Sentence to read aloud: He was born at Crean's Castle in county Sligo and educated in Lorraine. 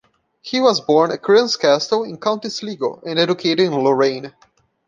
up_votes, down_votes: 1, 2